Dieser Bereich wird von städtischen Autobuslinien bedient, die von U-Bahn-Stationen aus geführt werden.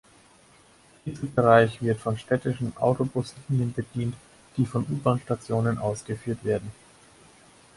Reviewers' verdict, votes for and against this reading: rejected, 0, 4